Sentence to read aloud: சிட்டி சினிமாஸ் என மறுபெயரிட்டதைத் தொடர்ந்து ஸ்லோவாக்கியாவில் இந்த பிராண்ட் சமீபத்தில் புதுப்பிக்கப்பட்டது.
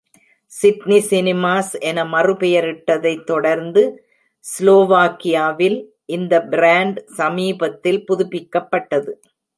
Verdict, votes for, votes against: rejected, 1, 2